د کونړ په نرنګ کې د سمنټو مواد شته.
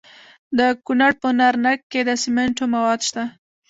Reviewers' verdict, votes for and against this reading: accepted, 2, 0